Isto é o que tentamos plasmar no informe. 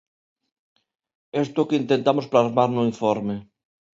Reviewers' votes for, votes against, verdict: 2, 0, accepted